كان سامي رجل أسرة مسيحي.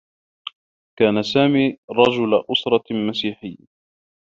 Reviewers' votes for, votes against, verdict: 0, 2, rejected